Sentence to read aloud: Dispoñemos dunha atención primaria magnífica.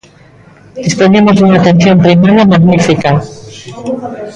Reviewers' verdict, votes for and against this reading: rejected, 0, 2